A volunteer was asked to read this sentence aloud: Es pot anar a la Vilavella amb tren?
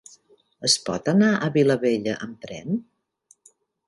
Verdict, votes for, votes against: accepted, 3, 1